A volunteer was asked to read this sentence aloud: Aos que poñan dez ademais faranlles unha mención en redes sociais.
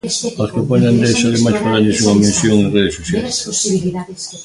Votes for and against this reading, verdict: 0, 2, rejected